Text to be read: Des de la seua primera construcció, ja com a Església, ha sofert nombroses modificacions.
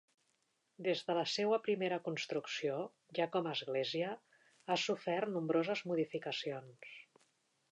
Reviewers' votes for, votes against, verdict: 2, 0, accepted